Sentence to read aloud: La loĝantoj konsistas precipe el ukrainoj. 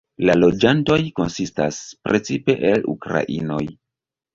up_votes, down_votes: 2, 0